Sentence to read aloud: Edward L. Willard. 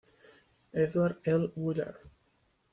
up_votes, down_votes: 2, 0